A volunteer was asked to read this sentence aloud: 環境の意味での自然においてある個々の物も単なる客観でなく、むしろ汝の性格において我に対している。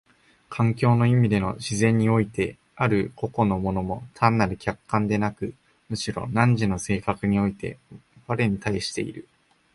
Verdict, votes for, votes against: accepted, 2, 0